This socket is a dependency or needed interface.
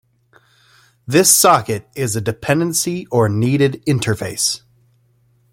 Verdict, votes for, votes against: accepted, 2, 0